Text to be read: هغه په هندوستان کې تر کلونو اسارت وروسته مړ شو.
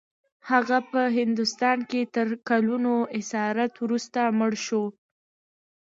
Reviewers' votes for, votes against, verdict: 2, 0, accepted